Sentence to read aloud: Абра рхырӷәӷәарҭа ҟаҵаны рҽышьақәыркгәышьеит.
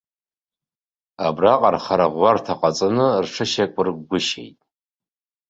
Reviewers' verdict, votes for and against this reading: accepted, 2, 0